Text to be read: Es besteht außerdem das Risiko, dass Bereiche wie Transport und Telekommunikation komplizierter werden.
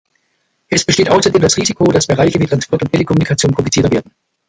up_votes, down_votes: 2, 0